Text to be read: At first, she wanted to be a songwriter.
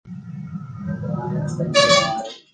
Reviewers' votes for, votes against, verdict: 0, 2, rejected